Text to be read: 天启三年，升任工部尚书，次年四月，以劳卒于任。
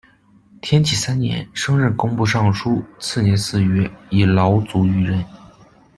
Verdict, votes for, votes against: accepted, 2, 0